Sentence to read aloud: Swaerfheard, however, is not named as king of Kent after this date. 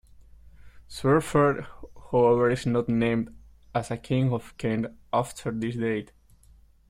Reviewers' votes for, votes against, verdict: 1, 2, rejected